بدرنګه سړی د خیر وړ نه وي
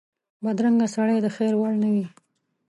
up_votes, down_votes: 2, 0